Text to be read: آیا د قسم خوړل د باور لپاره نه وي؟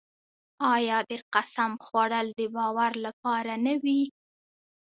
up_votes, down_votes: 0, 2